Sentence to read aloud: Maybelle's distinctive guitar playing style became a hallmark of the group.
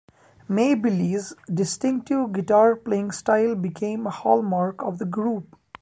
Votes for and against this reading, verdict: 1, 2, rejected